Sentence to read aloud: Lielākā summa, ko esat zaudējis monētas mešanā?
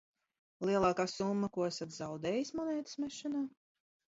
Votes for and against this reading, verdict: 2, 0, accepted